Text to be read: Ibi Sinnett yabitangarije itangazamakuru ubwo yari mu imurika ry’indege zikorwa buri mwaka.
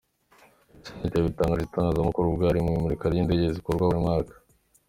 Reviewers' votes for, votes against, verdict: 0, 2, rejected